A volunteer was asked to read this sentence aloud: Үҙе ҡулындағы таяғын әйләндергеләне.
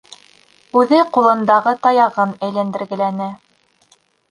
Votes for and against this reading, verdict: 3, 0, accepted